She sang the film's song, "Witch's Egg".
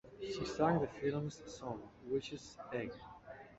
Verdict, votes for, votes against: accepted, 2, 1